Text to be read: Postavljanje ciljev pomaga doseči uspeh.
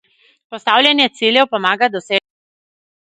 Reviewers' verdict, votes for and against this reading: rejected, 0, 2